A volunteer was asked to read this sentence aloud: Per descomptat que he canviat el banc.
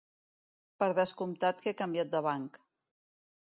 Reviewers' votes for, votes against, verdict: 1, 2, rejected